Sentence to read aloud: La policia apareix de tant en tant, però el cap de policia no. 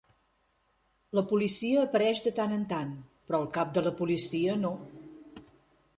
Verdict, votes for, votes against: rejected, 0, 2